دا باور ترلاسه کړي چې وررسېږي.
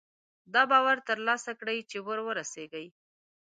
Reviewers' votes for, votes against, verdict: 2, 1, accepted